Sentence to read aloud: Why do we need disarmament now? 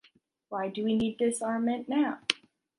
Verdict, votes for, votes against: rejected, 1, 2